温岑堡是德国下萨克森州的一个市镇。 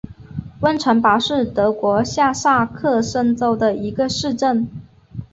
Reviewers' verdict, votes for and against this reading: accepted, 2, 1